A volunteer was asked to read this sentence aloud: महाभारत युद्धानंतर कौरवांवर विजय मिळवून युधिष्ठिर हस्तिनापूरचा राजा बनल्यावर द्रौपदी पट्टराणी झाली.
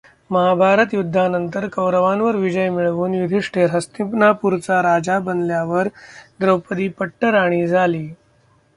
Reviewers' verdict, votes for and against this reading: accepted, 2, 0